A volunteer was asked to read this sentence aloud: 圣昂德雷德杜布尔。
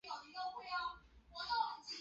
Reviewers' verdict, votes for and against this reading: rejected, 3, 4